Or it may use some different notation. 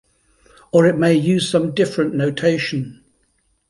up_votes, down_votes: 2, 0